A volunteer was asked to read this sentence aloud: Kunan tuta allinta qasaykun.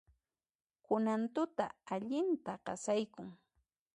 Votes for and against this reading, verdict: 1, 2, rejected